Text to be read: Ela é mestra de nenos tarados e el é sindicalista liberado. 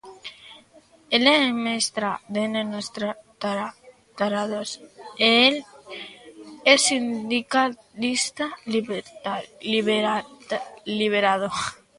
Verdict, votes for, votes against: rejected, 0, 2